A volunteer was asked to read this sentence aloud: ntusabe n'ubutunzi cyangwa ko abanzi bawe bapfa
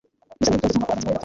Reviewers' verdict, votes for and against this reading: rejected, 1, 2